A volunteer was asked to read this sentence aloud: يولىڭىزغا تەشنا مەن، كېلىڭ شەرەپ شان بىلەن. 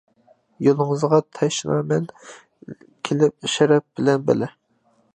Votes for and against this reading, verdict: 0, 2, rejected